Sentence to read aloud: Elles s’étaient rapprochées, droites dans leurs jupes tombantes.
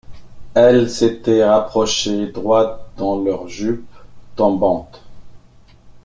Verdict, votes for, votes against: accepted, 2, 0